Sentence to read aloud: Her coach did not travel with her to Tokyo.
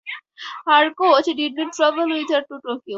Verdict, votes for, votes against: rejected, 2, 2